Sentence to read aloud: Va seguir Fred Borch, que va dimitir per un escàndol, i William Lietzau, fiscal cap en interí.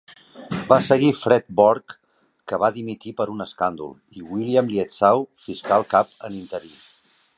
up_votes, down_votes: 2, 1